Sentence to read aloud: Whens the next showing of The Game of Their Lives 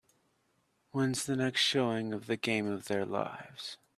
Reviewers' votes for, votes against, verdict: 2, 0, accepted